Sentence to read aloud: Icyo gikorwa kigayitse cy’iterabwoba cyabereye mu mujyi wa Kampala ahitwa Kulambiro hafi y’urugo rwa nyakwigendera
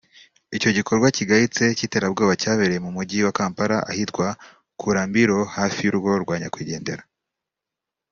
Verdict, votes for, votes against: accepted, 2, 0